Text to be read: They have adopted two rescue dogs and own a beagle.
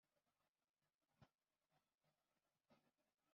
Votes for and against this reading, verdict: 0, 2, rejected